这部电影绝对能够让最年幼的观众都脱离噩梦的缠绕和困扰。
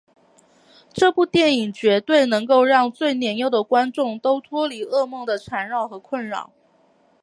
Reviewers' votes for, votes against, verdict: 3, 0, accepted